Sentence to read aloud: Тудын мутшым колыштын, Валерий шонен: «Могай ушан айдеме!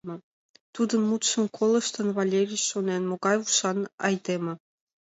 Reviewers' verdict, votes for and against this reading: accepted, 2, 0